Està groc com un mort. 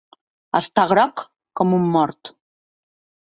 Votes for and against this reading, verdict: 2, 0, accepted